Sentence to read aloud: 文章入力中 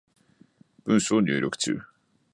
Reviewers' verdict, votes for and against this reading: accepted, 2, 0